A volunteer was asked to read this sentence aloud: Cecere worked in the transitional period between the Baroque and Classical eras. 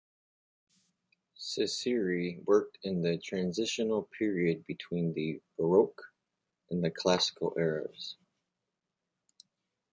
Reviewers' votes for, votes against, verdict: 2, 1, accepted